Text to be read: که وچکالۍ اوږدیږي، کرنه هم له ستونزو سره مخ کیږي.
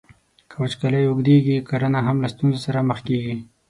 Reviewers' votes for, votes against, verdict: 21, 0, accepted